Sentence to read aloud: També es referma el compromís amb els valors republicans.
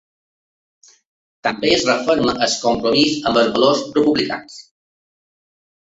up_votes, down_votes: 0, 2